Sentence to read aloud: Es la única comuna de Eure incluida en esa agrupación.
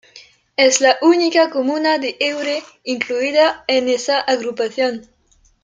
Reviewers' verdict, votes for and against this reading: accepted, 2, 1